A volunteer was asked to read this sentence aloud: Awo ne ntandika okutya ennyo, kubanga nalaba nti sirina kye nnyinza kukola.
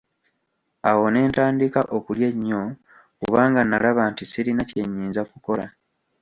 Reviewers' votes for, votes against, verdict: 1, 2, rejected